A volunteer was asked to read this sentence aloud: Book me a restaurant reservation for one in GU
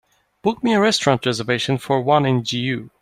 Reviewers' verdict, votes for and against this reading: accepted, 2, 0